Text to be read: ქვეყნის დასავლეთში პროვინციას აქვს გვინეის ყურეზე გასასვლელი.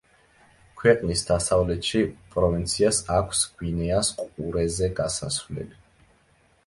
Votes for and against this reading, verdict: 0, 2, rejected